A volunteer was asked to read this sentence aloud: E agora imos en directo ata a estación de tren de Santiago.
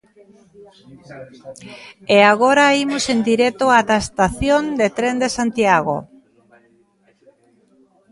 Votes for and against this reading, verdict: 2, 0, accepted